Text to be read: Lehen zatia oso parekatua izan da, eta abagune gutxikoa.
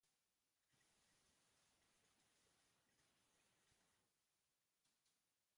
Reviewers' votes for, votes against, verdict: 0, 2, rejected